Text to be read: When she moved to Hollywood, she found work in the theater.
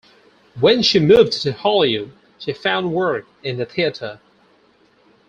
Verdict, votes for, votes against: accepted, 4, 2